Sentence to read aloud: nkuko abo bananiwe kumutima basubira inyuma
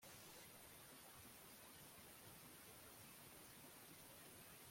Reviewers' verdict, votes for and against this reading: rejected, 1, 2